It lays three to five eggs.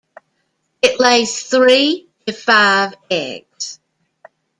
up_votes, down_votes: 0, 2